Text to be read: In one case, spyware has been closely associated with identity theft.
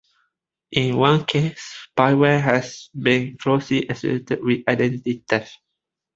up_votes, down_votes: 1, 2